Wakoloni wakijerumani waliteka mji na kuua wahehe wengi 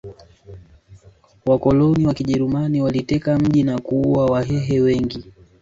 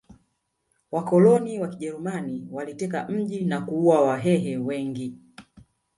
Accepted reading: first